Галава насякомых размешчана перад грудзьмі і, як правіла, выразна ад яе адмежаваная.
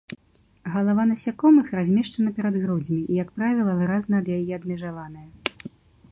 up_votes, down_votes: 2, 0